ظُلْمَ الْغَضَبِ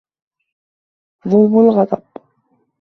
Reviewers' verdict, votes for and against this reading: accepted, 2, 0